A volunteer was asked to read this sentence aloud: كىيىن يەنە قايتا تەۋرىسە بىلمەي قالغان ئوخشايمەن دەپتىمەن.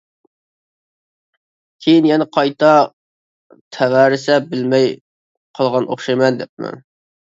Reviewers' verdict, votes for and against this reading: rejected, 0, 2